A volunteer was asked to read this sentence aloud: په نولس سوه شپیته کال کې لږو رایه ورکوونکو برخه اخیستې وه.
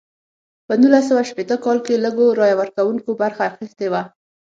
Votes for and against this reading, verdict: 6, 0, accepted